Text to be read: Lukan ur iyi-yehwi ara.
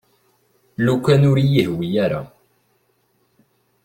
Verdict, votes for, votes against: accepted, 2, 0